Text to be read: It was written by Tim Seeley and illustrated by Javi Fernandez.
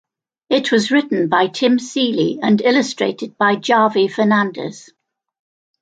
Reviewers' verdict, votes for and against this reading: accepted, 2, 0